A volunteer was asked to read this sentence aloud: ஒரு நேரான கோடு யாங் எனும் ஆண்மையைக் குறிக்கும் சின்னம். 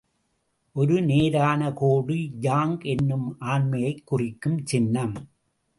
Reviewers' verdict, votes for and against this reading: accepted, 2, 0